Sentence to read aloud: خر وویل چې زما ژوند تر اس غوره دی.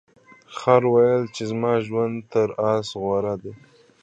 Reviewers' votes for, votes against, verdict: 1, 2, rejected